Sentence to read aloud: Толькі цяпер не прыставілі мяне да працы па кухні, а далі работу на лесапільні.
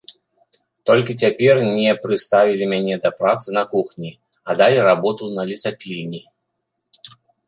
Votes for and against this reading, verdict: 1, 2, rejected